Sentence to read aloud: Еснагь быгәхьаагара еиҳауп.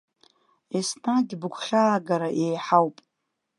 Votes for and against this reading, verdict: 2, 0, accepted